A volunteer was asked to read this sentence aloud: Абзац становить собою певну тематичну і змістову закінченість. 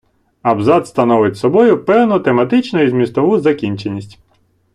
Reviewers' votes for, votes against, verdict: 2, 0, accepted